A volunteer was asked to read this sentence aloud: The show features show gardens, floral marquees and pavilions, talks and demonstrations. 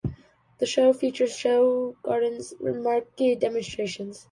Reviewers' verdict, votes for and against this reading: rejected, 0, 2